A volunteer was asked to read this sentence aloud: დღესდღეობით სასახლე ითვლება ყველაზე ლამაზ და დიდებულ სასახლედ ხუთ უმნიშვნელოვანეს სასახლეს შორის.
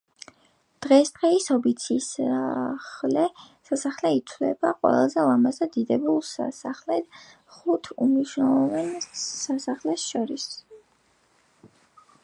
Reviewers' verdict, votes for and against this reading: rejected, 3, 4